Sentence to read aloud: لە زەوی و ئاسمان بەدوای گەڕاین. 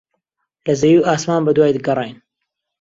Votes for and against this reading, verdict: 2, 0, accepted